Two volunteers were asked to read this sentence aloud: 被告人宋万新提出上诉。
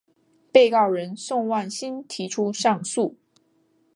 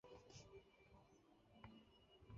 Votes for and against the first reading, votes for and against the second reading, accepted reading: 2, 0, 0, 2, first